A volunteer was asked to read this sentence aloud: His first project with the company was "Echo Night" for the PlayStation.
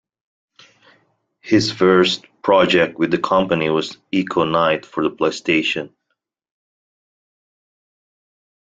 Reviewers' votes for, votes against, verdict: 2, 0, accepted